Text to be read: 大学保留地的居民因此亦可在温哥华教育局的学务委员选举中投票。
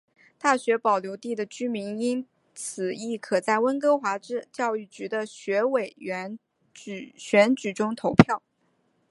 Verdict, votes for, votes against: rejected, 1, 2